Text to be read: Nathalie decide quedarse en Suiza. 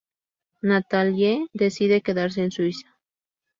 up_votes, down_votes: 2, 0